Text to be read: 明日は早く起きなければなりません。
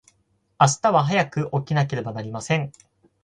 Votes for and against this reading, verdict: 2, 4, rejected